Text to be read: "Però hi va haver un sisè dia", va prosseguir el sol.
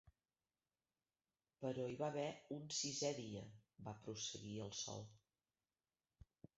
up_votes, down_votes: 0, 2